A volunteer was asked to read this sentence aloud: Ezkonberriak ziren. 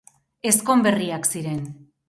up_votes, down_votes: 6, 0